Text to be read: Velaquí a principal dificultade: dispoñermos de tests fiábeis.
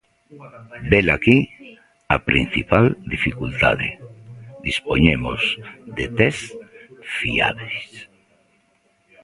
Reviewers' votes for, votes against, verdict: 0, 2, rejected